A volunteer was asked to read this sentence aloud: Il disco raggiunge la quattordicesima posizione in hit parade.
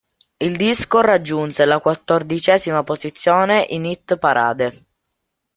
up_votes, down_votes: 1, 2